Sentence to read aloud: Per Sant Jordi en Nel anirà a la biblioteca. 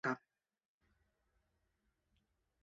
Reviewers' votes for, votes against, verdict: 1, 2, rejected